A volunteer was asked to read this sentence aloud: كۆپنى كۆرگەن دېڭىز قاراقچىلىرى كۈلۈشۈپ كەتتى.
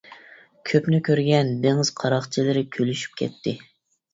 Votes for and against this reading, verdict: 2, 0, accepted